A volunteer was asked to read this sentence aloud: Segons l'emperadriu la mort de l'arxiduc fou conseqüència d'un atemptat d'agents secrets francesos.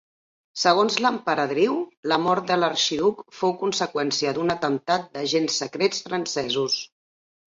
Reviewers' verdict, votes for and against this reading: accepted, 4, 0